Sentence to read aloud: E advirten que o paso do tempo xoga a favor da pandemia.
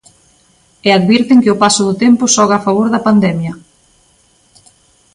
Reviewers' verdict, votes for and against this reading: accepted, 2, 0